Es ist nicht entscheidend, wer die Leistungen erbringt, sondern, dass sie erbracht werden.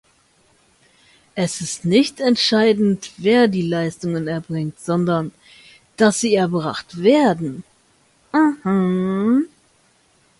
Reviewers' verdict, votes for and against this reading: rejected, 0, 2